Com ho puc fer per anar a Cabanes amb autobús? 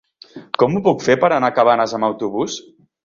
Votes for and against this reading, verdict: 3, 0, accepted